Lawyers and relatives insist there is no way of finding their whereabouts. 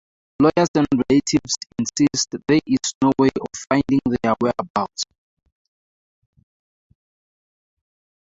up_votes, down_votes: 0, 4